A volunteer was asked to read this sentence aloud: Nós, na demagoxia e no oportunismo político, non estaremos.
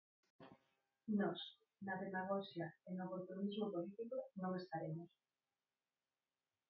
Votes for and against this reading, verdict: 0, 4, rejected